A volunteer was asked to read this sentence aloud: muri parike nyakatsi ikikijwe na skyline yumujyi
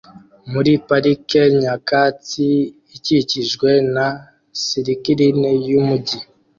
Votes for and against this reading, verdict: 2, 1, accepted